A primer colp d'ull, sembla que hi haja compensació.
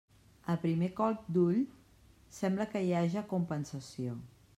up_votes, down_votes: 3, 1